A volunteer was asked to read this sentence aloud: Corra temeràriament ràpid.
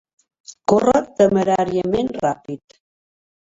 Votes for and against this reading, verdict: 2, 1, accepted